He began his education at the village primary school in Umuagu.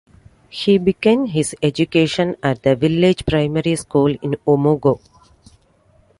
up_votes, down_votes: 2, 0